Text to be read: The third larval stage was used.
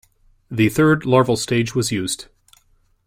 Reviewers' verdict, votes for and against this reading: accepted, 2, 0